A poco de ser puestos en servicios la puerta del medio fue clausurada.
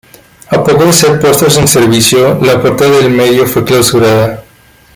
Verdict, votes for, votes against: rejected, 0, 2